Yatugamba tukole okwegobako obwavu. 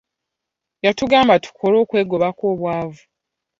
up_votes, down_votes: 2, 0